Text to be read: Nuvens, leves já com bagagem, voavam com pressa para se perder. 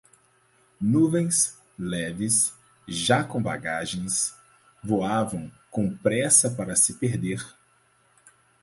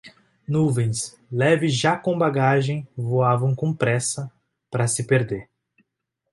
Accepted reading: second